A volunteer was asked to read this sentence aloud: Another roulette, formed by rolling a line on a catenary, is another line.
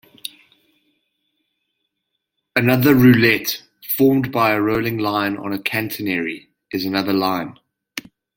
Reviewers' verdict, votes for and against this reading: rejected, 1, 2